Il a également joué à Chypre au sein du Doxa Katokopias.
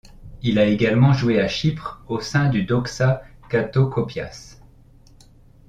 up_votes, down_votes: 2, 0